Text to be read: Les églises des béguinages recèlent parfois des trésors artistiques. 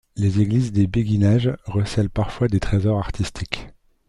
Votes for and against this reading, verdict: 1, 2, rejected